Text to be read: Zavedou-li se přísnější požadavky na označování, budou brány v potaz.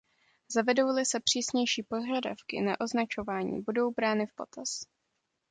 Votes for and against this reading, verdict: 2, 1, accepted